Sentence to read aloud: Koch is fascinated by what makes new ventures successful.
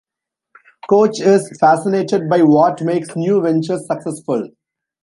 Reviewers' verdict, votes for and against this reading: accepted, 2, 0